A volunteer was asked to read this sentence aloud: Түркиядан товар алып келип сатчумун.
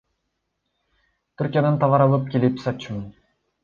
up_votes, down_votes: 2, 1